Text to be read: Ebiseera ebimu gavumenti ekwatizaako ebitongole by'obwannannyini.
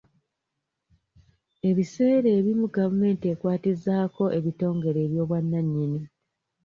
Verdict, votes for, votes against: rejected, 0, 2